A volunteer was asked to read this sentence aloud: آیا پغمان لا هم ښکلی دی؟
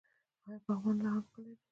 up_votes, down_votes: 1, 2